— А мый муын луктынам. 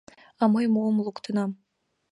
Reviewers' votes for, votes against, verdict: 1, 2, rejected